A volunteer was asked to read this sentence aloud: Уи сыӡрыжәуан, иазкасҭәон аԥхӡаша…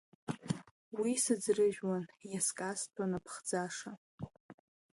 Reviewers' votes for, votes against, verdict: 2, 1, accepted